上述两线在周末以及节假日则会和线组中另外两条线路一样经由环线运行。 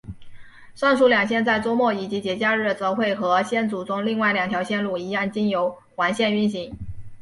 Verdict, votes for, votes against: accepted, 2, 0